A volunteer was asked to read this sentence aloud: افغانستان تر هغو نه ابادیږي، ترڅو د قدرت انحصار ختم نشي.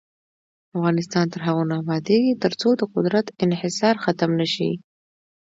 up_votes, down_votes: 2, 0